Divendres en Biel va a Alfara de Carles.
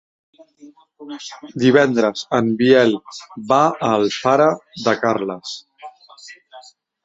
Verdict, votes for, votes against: rejected, 1, 2